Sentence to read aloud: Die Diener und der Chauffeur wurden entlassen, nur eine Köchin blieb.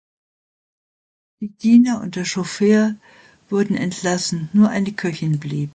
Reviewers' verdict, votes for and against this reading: rejected, 0, 2